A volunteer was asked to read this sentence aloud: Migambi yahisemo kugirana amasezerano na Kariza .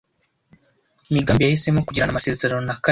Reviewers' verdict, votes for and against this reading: rejected, 1, 2